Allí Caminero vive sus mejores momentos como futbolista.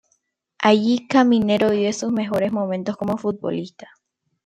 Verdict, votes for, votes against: accepted, 3, 0